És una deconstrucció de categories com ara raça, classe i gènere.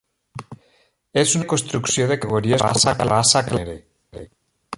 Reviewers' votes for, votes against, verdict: 0, 2, rejected